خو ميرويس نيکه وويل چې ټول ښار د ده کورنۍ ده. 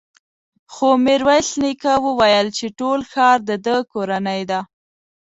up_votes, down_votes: 2, 0